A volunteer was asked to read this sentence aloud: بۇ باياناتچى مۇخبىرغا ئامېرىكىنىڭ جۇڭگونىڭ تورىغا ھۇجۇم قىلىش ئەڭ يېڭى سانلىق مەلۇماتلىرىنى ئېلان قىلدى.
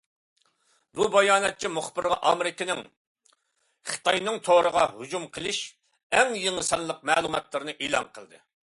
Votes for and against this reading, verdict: 0, 2, rejected